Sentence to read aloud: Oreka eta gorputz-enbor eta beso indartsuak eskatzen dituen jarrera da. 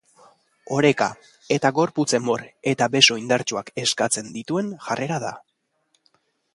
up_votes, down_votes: 2, 0